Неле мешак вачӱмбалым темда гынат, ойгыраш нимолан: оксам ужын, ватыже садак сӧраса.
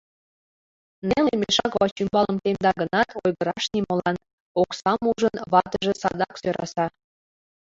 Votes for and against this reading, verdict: 2, 1, accepted